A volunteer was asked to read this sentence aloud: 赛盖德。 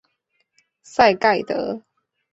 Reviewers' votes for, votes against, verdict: 3, 0, accepted